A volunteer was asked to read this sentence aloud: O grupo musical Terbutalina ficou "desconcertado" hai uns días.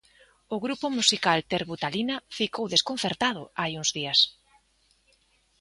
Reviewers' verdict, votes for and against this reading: accepted, 2, 0